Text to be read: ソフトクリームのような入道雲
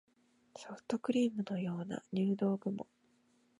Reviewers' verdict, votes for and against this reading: rejected, 0, 2